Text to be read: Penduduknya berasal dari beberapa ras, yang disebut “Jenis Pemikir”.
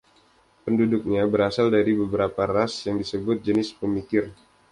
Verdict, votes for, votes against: accepted, 2, 0